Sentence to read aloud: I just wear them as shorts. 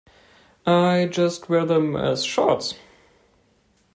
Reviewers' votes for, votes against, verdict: 2, 0, accepted